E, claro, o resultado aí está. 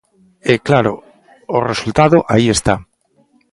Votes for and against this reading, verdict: 2, 0, accepted